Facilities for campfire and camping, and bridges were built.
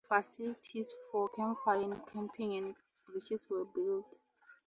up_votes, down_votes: 4, 0